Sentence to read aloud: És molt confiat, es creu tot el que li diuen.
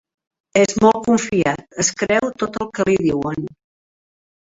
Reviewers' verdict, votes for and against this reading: rejected, 1, 2